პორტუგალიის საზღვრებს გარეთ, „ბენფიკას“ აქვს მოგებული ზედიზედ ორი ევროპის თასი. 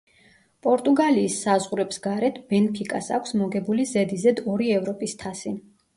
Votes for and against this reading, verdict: 2, 0, accepted